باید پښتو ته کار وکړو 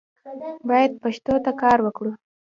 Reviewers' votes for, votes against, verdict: 0, 2, rejected